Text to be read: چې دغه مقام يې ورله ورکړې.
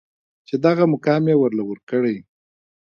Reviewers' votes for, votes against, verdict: 1, 2, rejected